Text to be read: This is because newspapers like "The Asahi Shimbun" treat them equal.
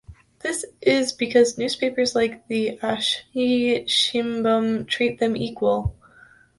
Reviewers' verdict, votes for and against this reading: rejected, 1, 2